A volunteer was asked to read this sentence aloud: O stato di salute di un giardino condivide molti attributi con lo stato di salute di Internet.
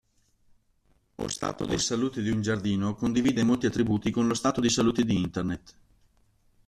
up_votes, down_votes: 1, 2